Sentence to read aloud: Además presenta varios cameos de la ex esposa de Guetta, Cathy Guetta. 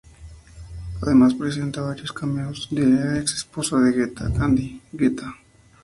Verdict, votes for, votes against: accepted, 2, 0